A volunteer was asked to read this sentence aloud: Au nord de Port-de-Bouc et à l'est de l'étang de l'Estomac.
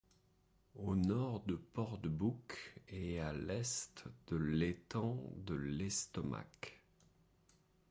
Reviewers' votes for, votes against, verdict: 1, 2, rejected